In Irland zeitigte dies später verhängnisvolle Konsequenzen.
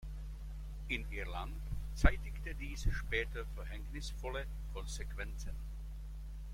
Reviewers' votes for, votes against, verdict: 2, 0, accepted